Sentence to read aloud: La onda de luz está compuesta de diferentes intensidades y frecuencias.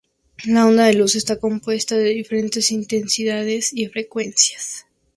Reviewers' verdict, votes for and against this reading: rejected, 0, 2